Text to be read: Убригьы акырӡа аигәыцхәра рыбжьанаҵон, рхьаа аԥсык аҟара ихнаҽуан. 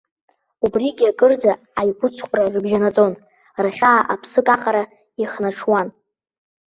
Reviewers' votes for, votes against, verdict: 2, 1, accepted